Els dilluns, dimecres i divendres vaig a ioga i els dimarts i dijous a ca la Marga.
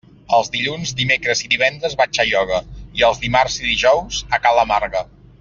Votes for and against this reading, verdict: 2, 0, accepted